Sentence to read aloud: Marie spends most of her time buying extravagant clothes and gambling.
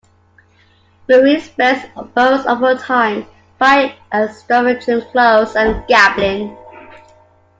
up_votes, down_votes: 1, 2